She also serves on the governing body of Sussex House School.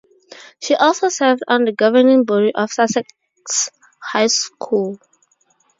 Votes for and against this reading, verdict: 0, 2, rejected